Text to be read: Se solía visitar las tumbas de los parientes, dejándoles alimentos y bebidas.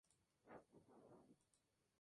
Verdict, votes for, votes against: rejected, 0, 2